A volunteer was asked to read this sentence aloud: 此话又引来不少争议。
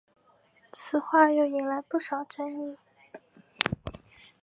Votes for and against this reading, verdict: 2, 0, accepted